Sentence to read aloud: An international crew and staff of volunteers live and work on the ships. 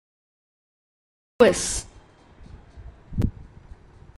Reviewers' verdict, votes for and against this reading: rejected, 0, 2